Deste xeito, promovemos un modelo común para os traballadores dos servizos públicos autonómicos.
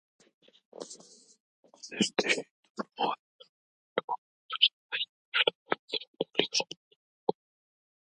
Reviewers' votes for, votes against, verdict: 0, 2, rejected